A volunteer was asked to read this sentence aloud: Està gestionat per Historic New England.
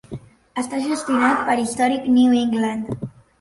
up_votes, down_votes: 2, 0